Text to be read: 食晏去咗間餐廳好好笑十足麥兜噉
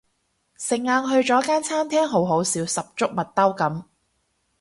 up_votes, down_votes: 0, 2